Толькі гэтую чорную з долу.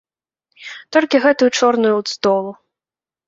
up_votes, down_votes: 0, 2